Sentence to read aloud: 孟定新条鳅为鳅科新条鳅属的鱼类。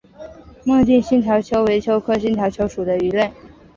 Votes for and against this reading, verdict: 4, 0, accepted